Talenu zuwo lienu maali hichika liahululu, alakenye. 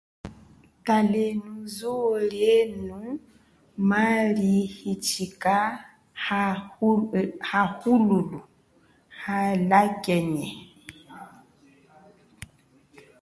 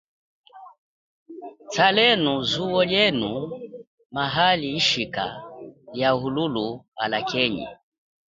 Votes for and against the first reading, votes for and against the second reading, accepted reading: 1, 2, 2, 0, second